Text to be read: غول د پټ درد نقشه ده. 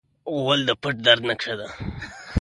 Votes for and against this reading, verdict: 2, 1, accepted